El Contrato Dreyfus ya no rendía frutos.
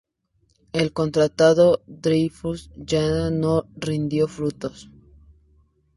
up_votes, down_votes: 0, 2